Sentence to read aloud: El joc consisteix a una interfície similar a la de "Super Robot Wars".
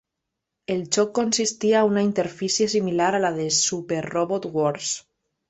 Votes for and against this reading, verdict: 0, 2, rejected